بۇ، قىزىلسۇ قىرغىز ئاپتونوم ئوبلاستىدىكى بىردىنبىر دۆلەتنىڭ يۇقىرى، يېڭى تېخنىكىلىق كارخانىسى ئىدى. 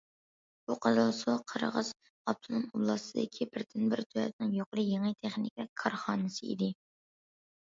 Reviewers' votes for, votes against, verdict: 2, 0, accepted